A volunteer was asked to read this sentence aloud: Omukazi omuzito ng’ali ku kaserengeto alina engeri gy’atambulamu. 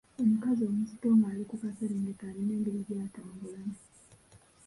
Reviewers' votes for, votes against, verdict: 1, 2, rejected